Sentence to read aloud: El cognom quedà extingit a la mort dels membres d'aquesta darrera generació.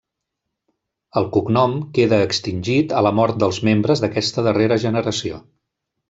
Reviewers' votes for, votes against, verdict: 1, 2, rejected